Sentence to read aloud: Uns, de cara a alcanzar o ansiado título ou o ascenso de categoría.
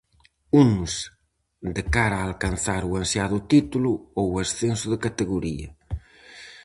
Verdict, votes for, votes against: accepted, 4, 0